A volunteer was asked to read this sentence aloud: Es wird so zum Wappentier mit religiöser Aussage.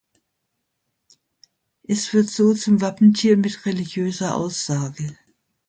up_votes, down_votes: 2, 0